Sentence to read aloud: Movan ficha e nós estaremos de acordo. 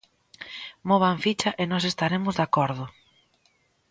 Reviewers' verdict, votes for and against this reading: accepted, 2, 0